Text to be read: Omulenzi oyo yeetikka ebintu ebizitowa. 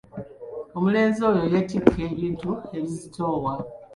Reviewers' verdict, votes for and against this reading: rejected, 1, 2